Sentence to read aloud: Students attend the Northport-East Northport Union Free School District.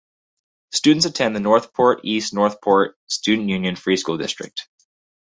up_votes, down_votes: 2, 4